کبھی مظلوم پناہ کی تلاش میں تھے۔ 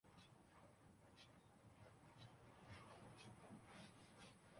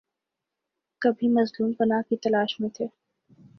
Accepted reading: second